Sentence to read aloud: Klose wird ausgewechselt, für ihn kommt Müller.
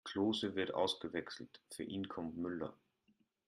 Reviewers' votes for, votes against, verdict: 2, 0, accepted